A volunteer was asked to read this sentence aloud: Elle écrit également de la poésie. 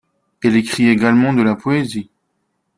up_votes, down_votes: 3, 0